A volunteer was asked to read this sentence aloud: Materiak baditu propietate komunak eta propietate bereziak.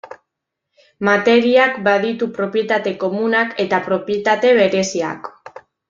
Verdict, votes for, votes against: accepted, 2, 0